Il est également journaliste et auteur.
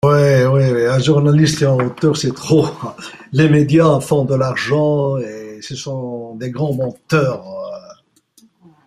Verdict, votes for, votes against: rejected, 0, 2